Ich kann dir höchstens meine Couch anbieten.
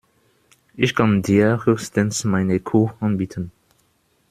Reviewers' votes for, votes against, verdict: 0, 2, rejected